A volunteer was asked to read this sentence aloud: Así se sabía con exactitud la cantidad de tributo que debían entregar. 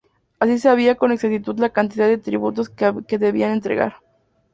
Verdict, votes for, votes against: rejected, 2, 2